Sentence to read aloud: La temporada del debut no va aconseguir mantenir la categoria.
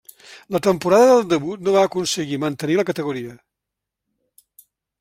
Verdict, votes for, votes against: accepted, 3, 0